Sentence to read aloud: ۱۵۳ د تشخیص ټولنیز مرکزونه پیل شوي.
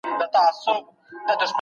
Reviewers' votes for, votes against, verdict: 0, 2, rejected